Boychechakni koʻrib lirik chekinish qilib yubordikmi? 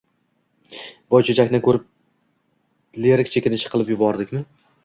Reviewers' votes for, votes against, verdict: 1, 2, rejected